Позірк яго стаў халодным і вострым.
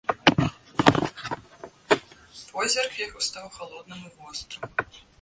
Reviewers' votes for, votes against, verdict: 0, 2, rejected